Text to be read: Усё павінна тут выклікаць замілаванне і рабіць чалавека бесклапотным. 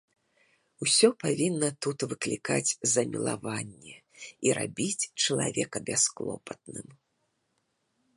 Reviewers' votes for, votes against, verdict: 1, 2, rejected